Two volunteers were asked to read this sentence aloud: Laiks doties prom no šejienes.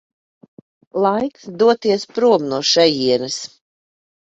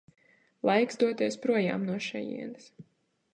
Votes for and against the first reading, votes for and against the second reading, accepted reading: 2, 0, 0, 2, first